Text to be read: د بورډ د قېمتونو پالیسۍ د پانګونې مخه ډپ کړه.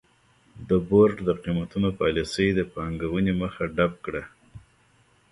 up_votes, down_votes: 1, 2